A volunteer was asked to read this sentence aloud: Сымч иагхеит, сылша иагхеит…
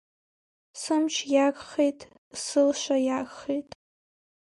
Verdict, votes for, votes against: accepted, 2, 0